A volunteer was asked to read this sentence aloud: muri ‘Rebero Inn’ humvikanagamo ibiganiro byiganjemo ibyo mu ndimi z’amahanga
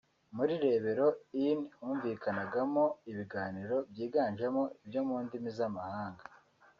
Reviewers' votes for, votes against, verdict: 2, 0, accepted